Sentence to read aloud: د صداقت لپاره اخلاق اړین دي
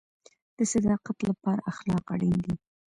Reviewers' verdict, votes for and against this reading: accepted, 2, 0